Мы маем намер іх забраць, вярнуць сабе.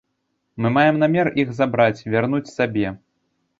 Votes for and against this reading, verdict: 2, 0, accepted